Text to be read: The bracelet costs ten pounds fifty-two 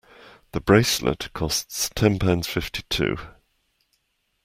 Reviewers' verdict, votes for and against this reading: accepted, 2, 0